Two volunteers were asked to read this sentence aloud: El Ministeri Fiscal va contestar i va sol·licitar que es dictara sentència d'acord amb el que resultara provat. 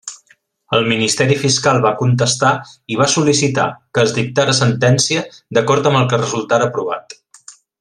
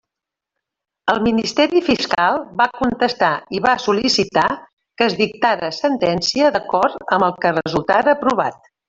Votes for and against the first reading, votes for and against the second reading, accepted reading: 3, 0, 0, 2, first